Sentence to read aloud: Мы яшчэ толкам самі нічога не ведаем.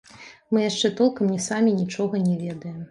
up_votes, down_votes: 1, 2